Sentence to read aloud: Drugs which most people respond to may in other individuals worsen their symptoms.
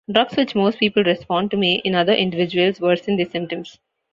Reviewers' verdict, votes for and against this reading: rejected, 0, 2